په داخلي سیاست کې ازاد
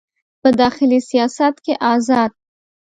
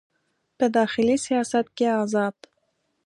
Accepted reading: second